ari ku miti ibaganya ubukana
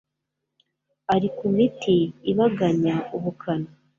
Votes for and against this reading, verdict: 2, 0, accepted